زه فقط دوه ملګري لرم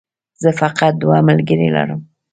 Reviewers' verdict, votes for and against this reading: accepted, 2, 0